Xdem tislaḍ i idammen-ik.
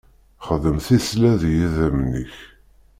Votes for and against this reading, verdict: 0, 2, rejected